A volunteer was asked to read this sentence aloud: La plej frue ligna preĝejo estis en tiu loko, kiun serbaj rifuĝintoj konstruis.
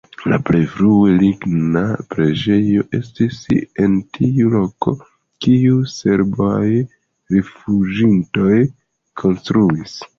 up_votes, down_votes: 2, 1